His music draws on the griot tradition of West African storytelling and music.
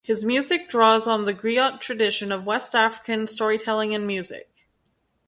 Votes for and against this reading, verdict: 2, 2, rejected